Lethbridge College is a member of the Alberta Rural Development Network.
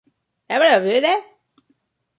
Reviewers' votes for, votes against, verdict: 0, 2, rejected